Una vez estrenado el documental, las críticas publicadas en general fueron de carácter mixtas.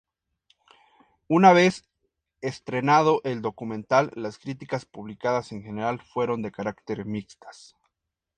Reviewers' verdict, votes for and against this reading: accepted, 2, 0